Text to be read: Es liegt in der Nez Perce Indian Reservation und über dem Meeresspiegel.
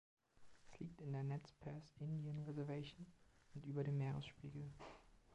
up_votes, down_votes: 2, 1